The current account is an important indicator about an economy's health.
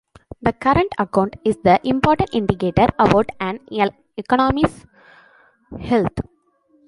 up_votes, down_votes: 1, 2